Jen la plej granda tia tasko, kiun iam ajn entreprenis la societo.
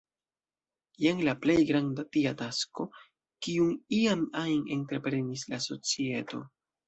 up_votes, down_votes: 2, 0